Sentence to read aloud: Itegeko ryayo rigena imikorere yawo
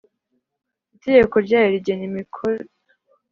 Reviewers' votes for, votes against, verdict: 1, 3, rejected